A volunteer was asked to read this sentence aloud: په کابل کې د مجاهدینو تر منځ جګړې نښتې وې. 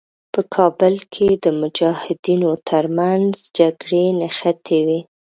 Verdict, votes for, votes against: accepted, 2, 0